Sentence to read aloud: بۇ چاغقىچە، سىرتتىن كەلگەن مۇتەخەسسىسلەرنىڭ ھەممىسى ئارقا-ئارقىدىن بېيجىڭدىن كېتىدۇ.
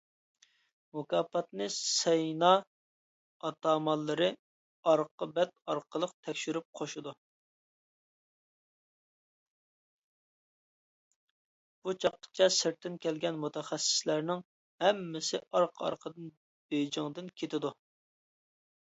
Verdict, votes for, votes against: rejected, 0, 2